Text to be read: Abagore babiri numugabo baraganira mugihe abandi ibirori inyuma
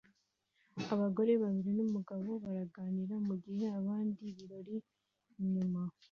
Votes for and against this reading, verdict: 2, 0, accepted